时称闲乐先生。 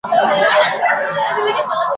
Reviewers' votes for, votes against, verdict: 0, 2, rejected